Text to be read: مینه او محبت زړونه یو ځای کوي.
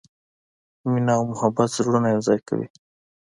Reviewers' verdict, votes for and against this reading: accepted, 2, 0